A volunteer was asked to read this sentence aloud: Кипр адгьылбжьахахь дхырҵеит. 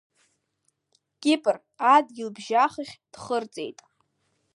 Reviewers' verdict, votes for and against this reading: accepted, 2, 0